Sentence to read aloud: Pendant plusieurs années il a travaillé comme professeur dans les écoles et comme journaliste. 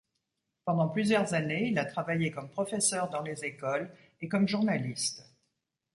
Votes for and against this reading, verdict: 2, 0, accepted